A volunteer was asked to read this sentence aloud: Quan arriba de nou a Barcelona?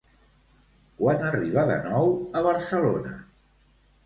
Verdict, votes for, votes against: accepted, 2, 0